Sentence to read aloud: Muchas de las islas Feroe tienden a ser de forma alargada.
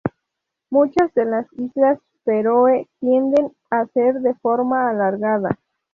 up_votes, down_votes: 2, 0